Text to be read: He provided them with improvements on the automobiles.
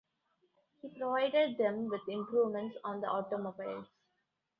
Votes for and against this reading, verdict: 2, 0, accepted